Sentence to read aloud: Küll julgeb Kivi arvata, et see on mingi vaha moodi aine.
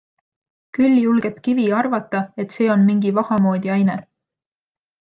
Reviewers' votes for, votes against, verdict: 2, 0, accepted